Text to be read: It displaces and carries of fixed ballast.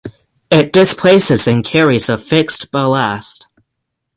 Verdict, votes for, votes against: accepted, 6, 0